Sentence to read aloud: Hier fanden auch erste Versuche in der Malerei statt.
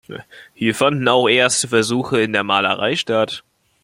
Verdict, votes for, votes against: rejected, 1, 2